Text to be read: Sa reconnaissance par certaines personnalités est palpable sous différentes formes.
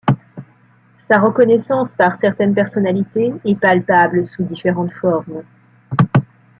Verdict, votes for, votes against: rejected, 1, 2